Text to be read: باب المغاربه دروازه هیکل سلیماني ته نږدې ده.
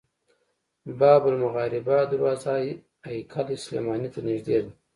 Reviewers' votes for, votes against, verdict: 1, 2, rejected